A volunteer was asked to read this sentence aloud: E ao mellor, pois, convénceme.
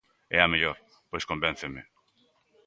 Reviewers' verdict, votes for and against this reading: accepted, 2, 1